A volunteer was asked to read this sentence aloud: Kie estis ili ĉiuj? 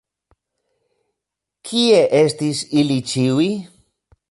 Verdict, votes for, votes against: rejected, 1, 2